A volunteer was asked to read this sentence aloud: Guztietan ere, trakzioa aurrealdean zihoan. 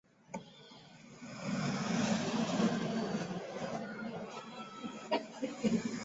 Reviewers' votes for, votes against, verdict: 0, 2, rejected